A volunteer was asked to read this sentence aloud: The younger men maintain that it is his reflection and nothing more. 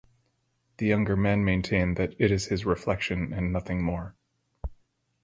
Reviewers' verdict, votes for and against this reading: accepted, 4, 0